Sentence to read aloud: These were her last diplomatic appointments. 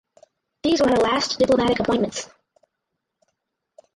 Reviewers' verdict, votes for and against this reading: rejected, 2, 2